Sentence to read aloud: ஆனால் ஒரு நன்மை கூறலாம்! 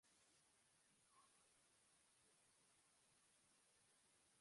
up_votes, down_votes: 0, 2